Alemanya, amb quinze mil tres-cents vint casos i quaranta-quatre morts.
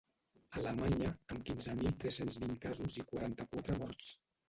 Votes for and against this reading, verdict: 0, 2, rejected